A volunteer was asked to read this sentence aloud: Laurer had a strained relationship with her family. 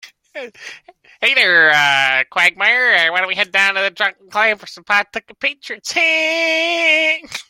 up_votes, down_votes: 0, 2